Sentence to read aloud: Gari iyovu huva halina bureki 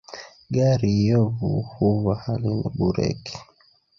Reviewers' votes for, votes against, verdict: 2, 0, accepted